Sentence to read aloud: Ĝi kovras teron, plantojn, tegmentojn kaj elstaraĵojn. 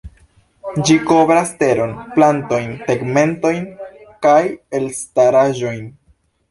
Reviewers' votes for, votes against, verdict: 2, 0, accepted